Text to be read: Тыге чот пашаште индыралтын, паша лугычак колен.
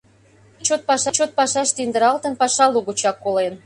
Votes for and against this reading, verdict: 0, 2, rejected